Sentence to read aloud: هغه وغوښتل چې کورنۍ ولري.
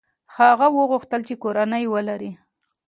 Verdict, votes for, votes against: accepted, 2, 1